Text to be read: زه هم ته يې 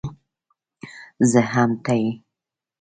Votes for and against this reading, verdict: 2, 0, accepted